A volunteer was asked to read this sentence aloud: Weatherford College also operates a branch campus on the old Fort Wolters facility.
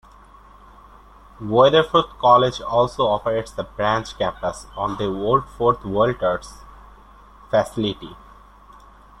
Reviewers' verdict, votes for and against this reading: rejected, 1, 2